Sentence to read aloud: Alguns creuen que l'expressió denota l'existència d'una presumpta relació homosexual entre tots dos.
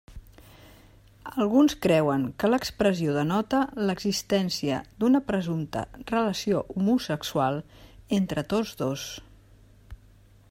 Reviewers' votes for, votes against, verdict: 3, 0, accepted